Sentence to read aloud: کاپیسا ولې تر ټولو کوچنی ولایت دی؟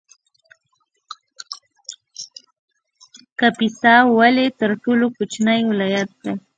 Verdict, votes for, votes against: rejected, 0, 2